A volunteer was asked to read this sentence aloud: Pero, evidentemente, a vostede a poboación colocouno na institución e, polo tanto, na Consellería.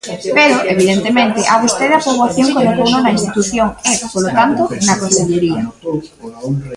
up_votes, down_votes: 1, 2